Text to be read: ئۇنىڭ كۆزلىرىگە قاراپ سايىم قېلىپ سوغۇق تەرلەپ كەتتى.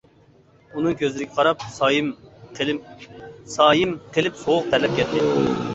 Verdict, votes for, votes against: rejected, 0, 2